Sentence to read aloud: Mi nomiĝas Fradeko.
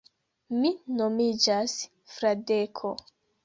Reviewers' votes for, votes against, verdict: 2, 0, accepted